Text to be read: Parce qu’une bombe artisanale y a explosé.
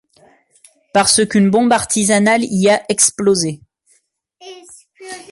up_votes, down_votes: 1, 2